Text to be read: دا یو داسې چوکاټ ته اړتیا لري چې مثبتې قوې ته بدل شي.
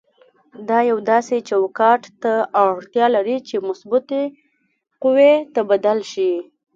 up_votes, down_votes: 1, 2